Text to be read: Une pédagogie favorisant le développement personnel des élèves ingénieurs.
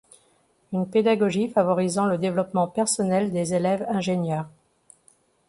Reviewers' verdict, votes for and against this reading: accepted, 2, 0